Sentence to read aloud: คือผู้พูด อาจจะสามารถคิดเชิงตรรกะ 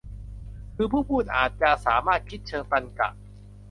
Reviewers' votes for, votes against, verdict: 2, 0, accepted